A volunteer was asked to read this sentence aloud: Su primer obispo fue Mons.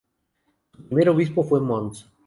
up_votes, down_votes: 4, 0